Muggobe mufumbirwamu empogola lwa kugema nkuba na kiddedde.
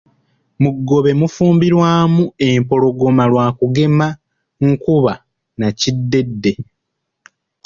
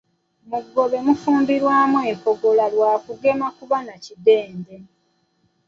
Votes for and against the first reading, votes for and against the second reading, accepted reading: 0, 2, 2, 0, second